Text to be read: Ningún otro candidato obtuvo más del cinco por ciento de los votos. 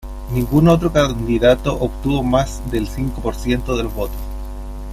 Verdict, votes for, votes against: rejected, 1, 2